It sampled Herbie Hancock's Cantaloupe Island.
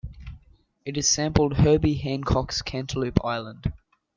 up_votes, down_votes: 0, 2